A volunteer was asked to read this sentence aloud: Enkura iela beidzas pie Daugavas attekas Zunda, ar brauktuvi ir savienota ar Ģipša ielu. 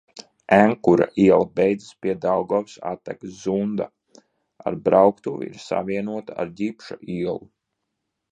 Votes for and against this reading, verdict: 2, 0, accepted